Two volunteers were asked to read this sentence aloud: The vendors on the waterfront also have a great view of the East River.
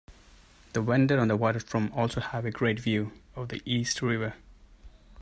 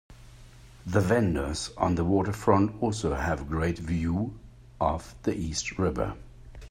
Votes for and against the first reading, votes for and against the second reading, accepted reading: 1, 4, 4, 0, second